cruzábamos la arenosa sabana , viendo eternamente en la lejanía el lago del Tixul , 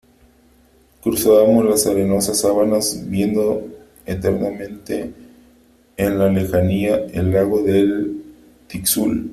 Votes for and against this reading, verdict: 1, 3, rejected